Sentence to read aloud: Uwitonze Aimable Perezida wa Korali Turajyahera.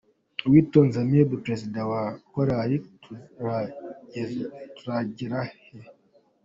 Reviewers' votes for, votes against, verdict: 0, 2, rejected